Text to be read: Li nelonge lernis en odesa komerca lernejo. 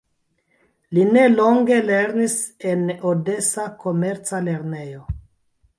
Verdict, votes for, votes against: rejected, 1, 2